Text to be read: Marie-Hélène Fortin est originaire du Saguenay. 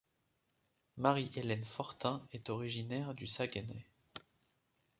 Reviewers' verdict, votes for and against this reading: accepted, 2, 1